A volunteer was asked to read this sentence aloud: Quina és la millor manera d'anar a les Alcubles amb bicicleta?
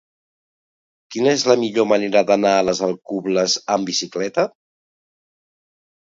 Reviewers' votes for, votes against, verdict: 2, 0, accepted